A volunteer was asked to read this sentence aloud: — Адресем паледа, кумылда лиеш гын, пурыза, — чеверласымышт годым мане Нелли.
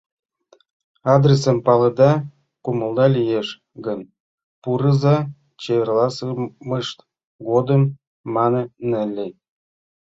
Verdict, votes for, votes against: rejected, 1, 2